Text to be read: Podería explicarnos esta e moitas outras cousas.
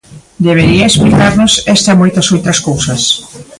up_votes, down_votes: 0, 2